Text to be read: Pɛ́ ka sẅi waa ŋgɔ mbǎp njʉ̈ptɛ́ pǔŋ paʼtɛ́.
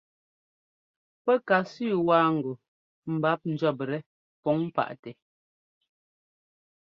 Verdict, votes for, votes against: accepted, 2, 0